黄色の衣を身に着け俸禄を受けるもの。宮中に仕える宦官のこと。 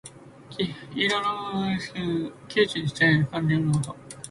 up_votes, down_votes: 0, 3